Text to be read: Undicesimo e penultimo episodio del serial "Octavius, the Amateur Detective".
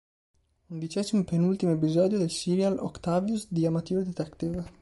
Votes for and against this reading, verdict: 2, 3, rejected